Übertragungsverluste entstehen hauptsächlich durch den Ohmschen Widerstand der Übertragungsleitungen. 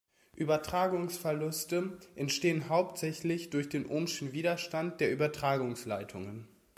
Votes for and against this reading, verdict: 2, 0, accepted